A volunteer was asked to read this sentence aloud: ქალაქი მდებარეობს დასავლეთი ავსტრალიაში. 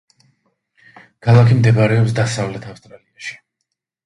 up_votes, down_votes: 0, 2